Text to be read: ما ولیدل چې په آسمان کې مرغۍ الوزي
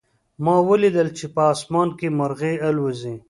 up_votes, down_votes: 2, 0